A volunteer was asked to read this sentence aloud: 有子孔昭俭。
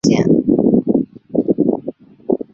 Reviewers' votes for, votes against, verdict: 1, 2, rejected